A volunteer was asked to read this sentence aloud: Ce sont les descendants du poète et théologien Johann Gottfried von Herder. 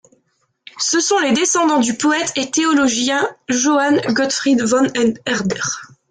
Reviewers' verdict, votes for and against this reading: rejected, 1, 2